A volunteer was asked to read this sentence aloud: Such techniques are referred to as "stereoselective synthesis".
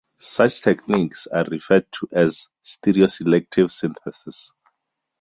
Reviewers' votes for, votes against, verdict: 2, 2, rejected